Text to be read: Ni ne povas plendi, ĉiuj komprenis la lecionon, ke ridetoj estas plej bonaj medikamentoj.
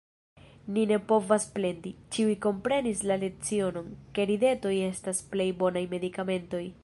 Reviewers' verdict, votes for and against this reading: accepted, 2, 0